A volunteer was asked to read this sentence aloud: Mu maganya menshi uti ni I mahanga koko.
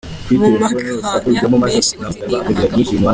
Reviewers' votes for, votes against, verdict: 0, 2, rejected